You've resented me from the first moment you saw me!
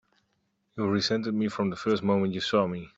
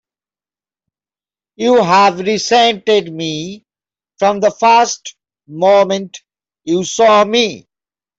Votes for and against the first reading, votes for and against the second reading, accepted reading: 4, 1, 1, 2, first